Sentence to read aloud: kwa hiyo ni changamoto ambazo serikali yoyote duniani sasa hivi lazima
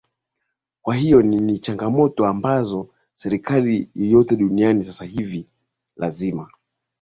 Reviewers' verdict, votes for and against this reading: accepted, 2, 0